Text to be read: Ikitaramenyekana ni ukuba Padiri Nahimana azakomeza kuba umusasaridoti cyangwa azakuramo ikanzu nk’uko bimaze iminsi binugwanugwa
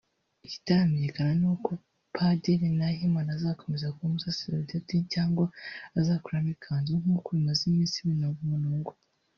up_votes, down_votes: 1, 2